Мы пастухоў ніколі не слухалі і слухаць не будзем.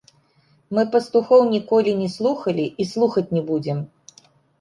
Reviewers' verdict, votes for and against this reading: accepted, 2, 0